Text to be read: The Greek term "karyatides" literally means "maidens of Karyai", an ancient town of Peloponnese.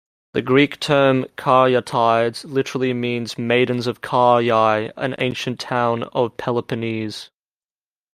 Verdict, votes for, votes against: rejected, 1, 2